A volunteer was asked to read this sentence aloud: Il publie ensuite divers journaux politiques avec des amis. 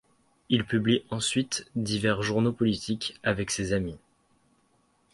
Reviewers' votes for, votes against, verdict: 1, 2, rejected